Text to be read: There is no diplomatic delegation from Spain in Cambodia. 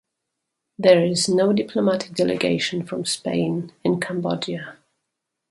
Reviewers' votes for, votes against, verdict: 4, 0, accepted